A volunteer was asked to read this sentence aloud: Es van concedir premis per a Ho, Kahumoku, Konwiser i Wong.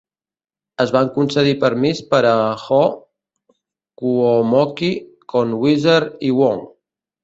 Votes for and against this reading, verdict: 2, 3, rejected